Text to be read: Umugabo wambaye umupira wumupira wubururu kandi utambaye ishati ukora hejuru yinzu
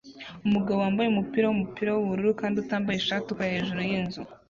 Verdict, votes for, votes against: accepted, 2, 0